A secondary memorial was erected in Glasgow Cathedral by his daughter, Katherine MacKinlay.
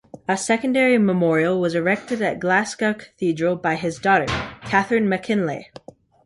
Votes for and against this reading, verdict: 2, 1, accepted